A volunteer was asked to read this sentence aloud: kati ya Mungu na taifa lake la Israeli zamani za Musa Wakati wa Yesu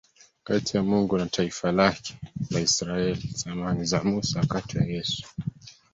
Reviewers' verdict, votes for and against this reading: rejected, 0, 2